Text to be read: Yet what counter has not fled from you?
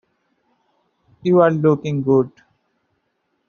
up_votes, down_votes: 0, 2